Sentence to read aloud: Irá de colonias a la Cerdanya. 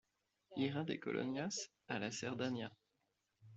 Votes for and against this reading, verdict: 2, 0, accepted